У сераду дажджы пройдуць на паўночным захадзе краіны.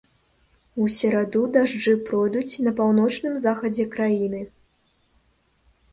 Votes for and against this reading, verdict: 2, 0, accepted